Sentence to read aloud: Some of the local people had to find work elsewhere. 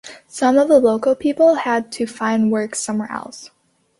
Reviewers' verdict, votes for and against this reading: rejected, 0, 2